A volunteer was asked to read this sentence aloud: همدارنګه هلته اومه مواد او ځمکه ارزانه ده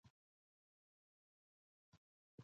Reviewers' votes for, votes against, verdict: 1, 2, rejected